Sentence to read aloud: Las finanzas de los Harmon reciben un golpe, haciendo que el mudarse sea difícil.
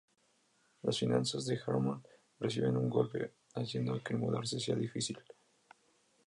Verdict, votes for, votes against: rejected, 0, 2